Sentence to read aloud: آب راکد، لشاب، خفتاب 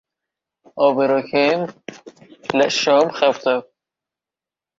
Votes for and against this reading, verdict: 1, 2, rejected